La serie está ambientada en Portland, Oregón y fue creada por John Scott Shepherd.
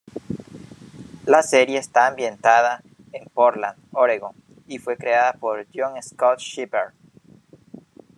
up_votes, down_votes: 1, 2